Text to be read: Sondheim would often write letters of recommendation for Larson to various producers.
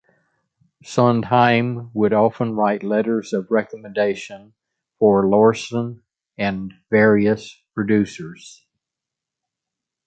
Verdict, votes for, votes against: rejected, 0, 2